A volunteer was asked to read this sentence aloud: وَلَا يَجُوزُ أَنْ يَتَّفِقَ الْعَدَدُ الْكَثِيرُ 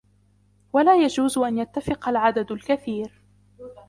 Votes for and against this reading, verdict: 1, 3, rejected